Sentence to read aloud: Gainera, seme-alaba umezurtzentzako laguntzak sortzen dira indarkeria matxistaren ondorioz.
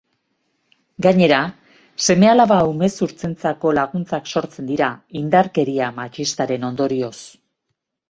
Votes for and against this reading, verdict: 2, 0, accepted